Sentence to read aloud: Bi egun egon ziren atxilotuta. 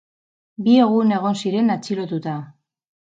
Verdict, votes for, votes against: accepted, 6, 0